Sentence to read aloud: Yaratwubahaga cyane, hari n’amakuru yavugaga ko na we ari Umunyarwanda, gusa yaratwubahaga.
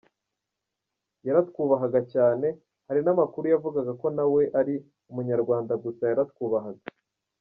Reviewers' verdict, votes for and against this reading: rejected, 1, 2